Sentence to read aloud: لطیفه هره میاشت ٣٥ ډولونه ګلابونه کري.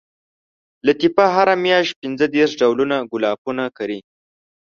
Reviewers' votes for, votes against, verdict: 0, 2, rejected